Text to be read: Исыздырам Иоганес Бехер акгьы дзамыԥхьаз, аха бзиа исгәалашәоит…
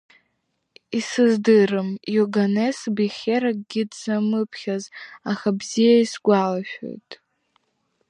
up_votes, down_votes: 2, 0